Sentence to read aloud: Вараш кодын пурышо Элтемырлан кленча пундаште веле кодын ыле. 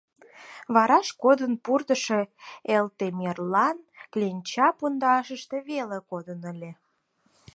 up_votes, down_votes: 2, 4